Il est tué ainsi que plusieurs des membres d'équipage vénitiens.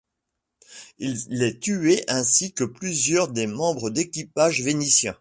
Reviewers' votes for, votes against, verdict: 2, 0, accepted